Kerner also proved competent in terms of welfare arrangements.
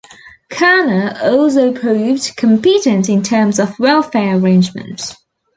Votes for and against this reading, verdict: 1, 2, rejected